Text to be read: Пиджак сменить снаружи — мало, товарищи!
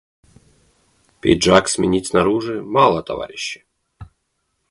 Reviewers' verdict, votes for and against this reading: accepted, 2, 0